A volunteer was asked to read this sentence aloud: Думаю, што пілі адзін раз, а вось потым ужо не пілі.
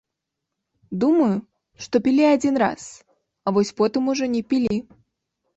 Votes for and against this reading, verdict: 2, 0, accepted